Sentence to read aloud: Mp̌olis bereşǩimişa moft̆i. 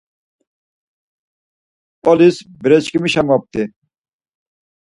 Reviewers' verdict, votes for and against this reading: accepted, 4, 0